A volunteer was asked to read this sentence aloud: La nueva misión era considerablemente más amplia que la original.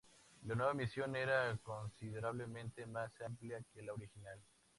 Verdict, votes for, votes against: accepted, 2, 0